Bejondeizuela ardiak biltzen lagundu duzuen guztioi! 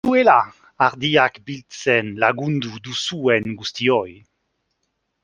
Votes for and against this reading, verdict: 1, 2, rejected